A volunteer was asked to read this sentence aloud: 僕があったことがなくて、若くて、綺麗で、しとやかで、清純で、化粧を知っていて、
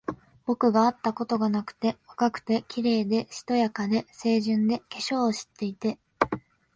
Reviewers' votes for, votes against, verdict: 2, 0, accepted